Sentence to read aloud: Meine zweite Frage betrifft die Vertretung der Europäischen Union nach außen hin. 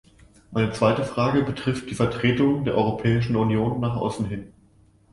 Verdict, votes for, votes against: accepted, 2, 0